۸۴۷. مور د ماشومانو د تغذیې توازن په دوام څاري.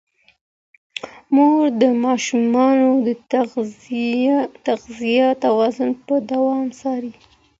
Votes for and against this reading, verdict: 0, 2, rejected